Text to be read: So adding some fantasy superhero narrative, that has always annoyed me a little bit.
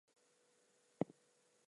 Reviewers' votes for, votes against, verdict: 0, 4, rejected